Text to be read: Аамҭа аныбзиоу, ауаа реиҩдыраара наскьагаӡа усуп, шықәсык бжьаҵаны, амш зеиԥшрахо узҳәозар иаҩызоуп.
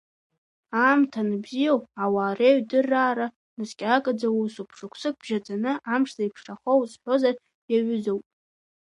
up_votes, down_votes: 0, 2